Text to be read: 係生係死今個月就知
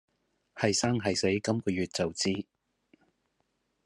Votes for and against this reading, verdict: 2, 0, accepted